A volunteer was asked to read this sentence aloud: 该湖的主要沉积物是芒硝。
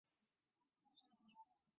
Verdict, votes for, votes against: rejected, 0, 5